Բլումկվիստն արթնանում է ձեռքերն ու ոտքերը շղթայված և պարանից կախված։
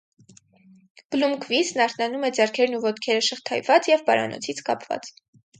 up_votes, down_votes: 2, 4